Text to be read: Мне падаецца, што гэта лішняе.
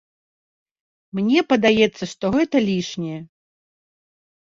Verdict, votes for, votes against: accepted, 2, 0